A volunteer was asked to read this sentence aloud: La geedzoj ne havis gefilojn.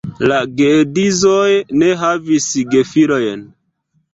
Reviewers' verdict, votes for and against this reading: rejected, 0, 2